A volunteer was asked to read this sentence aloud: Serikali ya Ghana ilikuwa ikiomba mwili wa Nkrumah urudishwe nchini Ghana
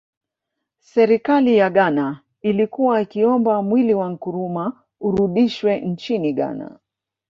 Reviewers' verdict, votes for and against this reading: accepted, 2, 0